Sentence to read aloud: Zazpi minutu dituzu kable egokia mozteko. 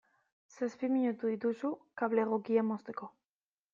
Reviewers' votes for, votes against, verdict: 2, 0, accepted